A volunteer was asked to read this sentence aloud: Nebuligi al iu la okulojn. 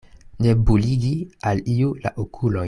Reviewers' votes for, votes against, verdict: 0, 2, rejected